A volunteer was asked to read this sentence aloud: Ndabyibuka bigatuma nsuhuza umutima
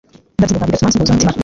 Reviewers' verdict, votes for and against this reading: rejected, 0, 2